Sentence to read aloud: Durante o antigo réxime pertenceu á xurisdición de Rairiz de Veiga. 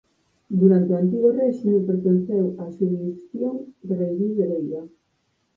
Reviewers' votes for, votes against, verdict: 4, 0, accepted